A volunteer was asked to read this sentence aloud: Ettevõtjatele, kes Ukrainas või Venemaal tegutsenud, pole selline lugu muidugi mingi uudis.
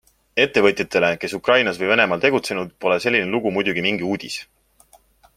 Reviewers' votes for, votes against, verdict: 2, 0, accepted